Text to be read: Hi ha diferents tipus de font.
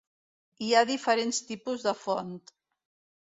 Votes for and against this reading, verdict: 2, 0, accepted